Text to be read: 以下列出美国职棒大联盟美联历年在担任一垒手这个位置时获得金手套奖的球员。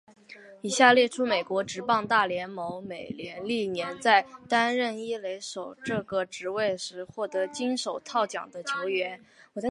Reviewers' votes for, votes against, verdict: 2, 1, accepted